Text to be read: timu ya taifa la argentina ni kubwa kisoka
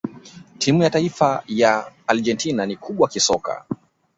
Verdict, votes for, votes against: rejected, 1, 2